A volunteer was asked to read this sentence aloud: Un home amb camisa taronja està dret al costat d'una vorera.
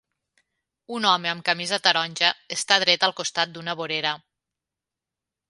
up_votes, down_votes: 23, 0